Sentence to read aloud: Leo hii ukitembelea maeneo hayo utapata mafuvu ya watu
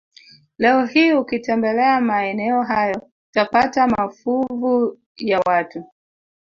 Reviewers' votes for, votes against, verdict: 2, 1, accepted